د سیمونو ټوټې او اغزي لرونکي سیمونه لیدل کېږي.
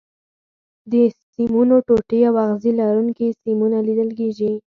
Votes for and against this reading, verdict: 2, 4, rejected